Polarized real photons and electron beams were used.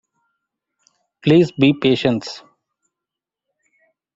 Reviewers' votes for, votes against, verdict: 0, 2, rejected